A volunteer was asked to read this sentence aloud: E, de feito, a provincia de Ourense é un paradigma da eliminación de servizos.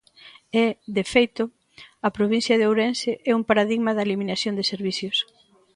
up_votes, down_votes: 0, 2